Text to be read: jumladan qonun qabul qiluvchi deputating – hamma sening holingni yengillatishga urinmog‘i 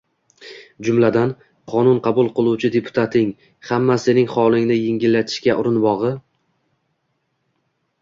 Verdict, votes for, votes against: rejected, 1, 2